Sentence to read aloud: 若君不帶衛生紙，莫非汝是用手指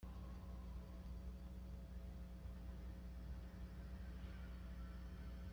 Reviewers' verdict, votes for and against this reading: rejected, 0, 2